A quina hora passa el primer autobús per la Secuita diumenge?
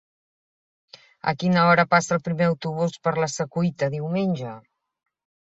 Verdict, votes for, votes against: accepted, 3, 0